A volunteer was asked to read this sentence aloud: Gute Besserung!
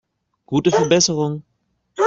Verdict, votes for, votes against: rejected, 0, 2